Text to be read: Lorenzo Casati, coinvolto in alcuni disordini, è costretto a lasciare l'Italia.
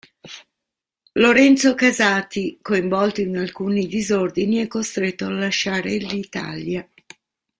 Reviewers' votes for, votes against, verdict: 1, 2, rejected